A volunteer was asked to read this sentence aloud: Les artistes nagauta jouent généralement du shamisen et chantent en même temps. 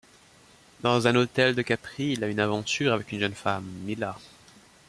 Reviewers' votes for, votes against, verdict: 0, 2, rejected